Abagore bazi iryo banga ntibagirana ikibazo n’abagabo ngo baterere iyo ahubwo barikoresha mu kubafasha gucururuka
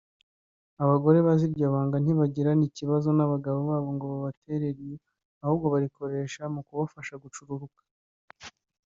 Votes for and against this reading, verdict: 3, 1, accepted